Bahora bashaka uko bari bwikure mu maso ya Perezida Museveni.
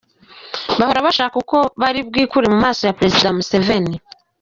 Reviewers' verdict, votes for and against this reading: accepted, 2, 1